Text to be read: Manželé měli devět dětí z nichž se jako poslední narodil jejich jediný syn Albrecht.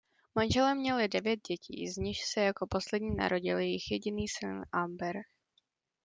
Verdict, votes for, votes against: rejected, 1, 2